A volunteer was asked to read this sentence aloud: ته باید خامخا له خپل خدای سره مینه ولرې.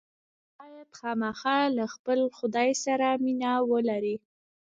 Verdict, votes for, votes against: rejected, 1, 2